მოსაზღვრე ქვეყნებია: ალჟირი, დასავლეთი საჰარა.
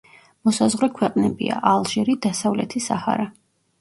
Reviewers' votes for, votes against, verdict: 2, 0, accepted